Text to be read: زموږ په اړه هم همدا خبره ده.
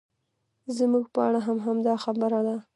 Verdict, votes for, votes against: rejected, 0, 2